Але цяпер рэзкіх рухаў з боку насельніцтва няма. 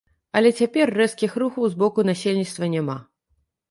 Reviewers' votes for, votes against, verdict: 3, 0, accepted